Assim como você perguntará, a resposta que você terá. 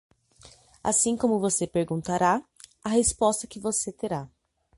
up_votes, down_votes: 3, 0